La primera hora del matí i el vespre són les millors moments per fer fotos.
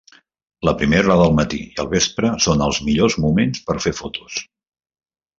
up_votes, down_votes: 0, 2